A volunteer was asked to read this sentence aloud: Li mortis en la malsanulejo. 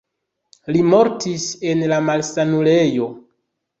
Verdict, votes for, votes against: accepted, 2, 0